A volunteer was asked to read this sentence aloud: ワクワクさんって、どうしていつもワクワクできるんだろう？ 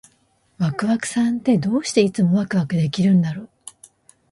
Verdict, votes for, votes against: accepted, 2, 0